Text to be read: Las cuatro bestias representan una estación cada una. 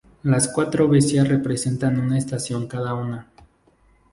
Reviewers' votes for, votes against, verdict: 2, 0, accepted